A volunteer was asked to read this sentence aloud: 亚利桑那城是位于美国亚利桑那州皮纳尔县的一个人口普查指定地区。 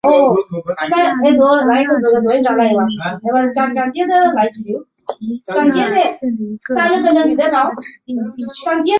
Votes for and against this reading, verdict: 1, 5, rejected